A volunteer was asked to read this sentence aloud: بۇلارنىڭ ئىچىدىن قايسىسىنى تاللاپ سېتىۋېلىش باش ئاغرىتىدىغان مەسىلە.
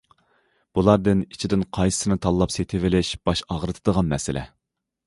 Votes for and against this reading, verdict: 1, 2, rejected